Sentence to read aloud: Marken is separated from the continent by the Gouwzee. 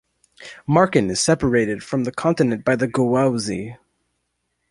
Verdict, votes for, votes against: rejected, 1, 2